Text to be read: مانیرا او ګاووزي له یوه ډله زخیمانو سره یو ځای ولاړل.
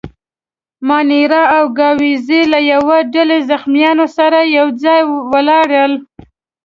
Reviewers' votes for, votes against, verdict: 1, 2, rejected